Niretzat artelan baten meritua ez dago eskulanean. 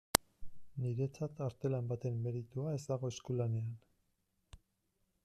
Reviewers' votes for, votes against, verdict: 1, 2, rejected